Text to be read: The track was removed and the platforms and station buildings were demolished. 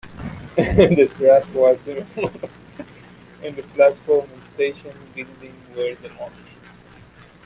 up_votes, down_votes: 1, 2